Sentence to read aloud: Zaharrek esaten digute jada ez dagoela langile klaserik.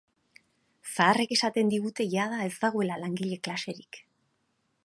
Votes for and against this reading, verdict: 4, 0, accepted